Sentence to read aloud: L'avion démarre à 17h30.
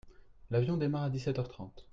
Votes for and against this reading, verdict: 0, 2, rejected